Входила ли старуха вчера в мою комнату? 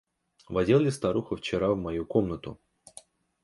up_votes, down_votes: 0, 2